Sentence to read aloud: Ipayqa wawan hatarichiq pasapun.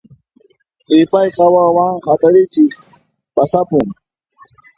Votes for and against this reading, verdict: 1, 2, rejected